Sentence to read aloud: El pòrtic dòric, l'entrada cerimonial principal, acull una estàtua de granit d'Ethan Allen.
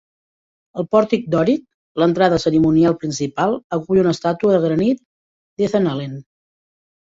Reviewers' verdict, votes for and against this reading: accepted, 2, 0